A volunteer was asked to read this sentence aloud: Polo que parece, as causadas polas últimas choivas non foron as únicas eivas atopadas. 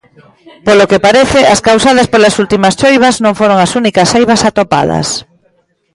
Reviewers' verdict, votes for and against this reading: rejected, 1, 2